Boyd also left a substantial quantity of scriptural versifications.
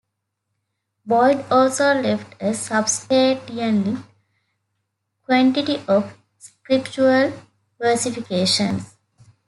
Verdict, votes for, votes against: rejected, 0, 2